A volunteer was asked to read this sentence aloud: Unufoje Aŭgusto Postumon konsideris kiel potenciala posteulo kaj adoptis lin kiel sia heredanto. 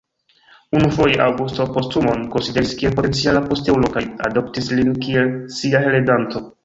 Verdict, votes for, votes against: rejected, 0, 2